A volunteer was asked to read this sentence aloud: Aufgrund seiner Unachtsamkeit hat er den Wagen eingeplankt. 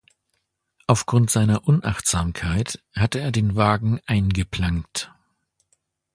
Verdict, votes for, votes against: accepted, 2, 0